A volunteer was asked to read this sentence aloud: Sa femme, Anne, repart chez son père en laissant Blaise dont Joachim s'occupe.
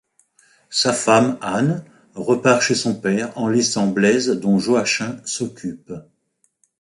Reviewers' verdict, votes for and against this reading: rejected, 0, 2